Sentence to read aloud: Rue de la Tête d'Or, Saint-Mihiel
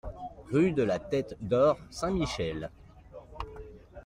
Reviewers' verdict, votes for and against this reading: rejected, 0, 2